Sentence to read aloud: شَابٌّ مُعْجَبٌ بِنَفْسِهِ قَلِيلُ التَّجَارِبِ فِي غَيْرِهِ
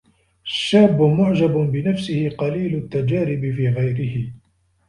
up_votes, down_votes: 1, 2